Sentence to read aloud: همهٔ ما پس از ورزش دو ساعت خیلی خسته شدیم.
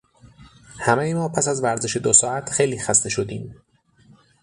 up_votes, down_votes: 6, 0